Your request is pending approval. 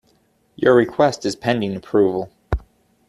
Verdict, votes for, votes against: accepted, 2, 0